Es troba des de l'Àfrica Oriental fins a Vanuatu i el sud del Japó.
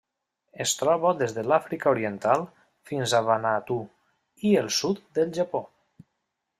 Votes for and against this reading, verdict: 0, 2, rejected